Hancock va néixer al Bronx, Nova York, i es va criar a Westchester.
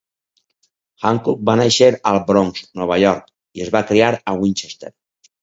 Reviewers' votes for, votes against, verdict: 0, 4, rejected